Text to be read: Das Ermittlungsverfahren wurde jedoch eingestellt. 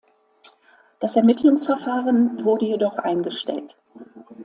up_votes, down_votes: 2, 0